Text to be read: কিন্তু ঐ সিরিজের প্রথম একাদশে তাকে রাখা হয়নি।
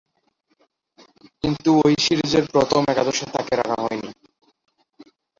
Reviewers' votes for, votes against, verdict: 0, 2, rejected